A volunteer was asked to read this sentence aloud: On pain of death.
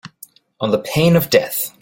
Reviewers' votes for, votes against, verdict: 2, 0, accepted